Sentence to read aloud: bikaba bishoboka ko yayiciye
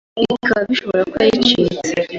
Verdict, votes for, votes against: rejected, 0, 2